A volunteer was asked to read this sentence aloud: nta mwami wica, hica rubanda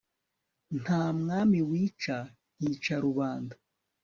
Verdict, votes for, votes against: accepted, 5, 0